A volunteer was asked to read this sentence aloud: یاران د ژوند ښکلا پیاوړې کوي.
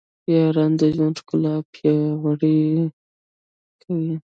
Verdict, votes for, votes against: rejected, 1, 2